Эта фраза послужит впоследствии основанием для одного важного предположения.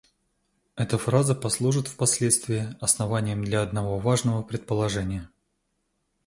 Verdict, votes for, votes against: accepted, 2, 0